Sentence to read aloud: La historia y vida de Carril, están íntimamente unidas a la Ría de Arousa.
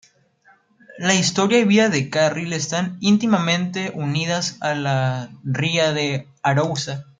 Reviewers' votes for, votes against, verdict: 2, 0, accepted